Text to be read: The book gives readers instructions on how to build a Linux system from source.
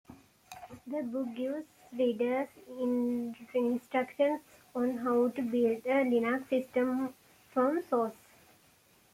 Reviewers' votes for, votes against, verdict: 1, 2, rejected